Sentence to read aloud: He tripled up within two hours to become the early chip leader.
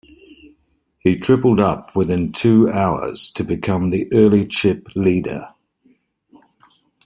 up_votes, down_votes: 2, 0